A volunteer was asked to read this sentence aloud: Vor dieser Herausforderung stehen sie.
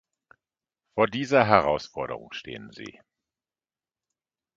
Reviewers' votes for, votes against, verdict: 2, 0, accepted